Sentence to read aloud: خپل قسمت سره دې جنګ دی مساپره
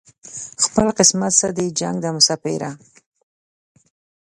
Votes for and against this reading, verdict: 2, 0, accepted